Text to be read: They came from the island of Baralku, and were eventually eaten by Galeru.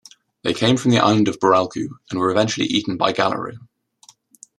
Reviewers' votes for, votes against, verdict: 0, 2, rejected